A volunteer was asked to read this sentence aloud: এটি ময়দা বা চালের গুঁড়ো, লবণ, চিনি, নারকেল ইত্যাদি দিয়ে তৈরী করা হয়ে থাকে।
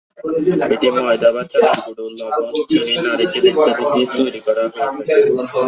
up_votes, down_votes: 3, 3